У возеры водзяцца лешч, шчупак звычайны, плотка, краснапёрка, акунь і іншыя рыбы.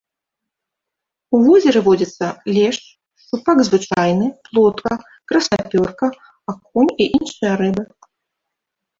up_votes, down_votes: 1, 2